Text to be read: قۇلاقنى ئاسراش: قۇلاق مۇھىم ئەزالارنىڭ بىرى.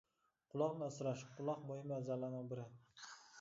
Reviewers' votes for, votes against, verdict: 1, 2, rejected